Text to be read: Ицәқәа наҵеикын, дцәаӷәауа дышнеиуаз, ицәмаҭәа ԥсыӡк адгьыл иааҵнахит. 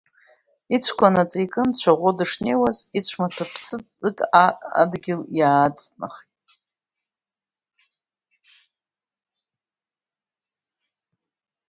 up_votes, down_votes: 0, 2